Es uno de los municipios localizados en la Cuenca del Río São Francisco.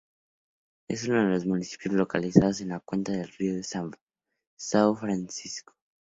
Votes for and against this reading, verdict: 0, 2, rejected